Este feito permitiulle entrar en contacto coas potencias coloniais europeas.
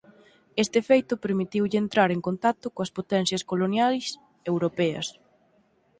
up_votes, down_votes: 6, 0